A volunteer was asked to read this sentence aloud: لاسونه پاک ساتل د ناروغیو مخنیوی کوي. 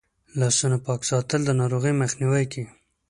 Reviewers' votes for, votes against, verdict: 2, 0, accepted